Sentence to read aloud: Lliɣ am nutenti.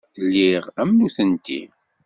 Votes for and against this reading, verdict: 2, 0, accepted